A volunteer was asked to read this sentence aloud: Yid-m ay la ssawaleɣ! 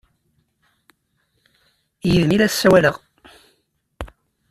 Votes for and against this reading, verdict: 2, 0, accepted